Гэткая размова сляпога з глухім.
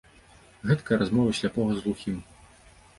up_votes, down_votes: 2, 0